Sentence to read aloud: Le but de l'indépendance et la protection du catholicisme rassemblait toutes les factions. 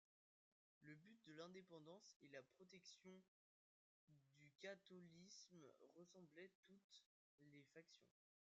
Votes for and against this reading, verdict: 0, 2, rejected